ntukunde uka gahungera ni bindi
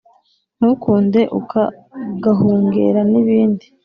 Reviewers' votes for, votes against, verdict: 2, 0, accepted